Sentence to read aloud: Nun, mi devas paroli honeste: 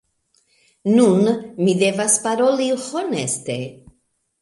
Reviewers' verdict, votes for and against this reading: accepted, 3, 1